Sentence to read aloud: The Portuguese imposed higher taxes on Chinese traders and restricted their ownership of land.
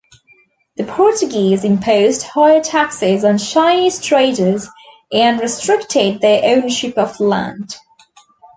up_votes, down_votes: 2, 0